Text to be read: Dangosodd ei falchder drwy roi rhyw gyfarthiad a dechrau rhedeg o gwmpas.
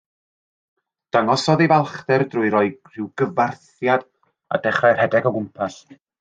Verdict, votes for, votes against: accepted, 3, 0